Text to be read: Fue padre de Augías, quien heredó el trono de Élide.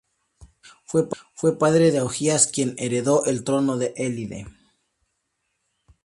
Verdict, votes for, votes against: accepted, 2, 0